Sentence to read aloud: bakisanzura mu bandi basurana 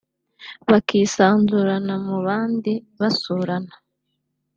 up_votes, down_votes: 2, 1